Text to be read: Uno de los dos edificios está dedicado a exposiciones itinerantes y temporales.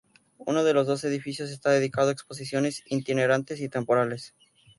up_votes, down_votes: 2, 2